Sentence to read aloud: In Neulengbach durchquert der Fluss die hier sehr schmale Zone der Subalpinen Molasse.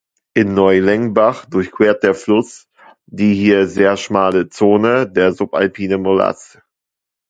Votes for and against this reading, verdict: 1, 2, rejected